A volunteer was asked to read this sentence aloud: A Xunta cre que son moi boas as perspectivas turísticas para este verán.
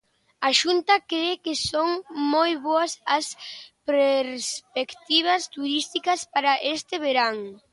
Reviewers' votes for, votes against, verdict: 0, 2, rejected